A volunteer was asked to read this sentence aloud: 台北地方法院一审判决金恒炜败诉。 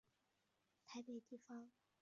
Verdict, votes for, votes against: rejected, 0, 2